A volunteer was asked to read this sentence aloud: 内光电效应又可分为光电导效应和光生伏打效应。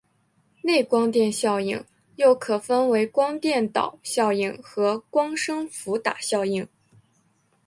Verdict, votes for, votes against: accepted, 2, 1